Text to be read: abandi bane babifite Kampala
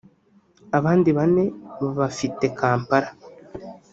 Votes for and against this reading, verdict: 0, 2, rejected